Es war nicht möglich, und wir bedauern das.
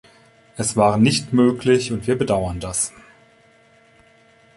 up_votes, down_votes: 2, 0